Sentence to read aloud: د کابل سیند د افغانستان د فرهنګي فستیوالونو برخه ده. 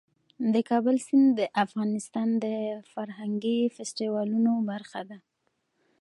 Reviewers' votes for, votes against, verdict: 2, 0, accepted